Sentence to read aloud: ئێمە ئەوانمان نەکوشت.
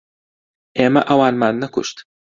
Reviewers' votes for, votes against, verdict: 2, 0, accepted